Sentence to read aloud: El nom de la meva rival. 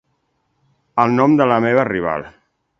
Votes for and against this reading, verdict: 2, 0, accepted